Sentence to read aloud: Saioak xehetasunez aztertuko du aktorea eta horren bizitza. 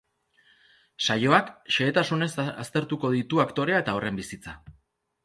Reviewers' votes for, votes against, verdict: 0, 2, rejected